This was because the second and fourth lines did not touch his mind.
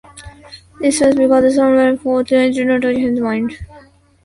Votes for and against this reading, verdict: 0, 2, rejected